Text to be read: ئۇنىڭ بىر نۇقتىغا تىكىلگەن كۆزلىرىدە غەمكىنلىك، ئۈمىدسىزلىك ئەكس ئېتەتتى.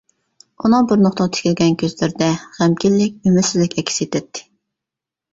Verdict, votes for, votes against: accepted, 2, 0